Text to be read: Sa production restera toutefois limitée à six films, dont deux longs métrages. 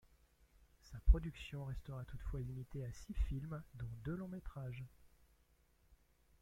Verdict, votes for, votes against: accepted, 2, 1